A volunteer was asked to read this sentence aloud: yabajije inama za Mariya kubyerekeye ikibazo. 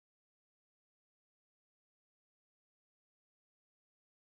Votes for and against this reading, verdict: 1, 2, rejected